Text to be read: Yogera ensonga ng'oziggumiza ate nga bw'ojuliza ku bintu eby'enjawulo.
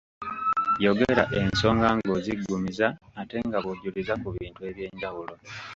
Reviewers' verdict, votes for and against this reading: accepted, 2, 0